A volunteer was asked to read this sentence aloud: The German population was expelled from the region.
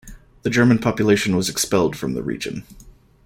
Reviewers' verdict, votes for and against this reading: accepted, 2, 0